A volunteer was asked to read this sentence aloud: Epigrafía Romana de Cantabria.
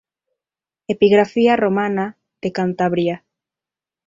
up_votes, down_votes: 2, 0